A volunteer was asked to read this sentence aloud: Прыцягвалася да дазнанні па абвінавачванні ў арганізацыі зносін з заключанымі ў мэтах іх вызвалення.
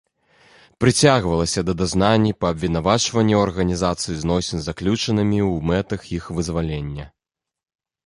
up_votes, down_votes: 2, 0